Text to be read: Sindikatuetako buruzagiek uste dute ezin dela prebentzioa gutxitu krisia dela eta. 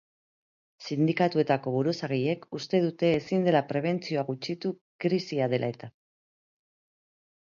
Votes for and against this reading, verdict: 3, 1, accepted